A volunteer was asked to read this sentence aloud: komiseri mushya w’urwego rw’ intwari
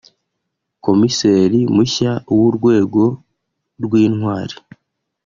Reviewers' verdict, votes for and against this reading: accepted, 2, 0